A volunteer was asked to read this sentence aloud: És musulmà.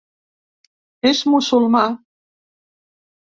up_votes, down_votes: 2, 0